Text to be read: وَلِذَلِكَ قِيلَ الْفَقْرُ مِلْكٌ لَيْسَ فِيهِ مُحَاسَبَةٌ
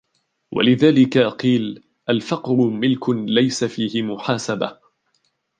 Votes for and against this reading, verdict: 1, 2, rejected